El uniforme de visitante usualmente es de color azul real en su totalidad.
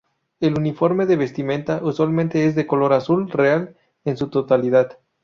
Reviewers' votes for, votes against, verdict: 0, 2, rejected